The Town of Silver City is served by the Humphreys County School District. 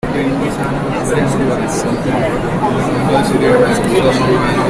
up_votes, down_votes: 0, 2